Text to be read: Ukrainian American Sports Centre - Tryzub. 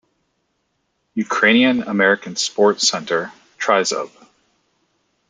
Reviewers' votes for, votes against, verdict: 2, 0, accepted